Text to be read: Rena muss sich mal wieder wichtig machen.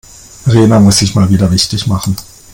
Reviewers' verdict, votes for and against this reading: accepted, 2, 0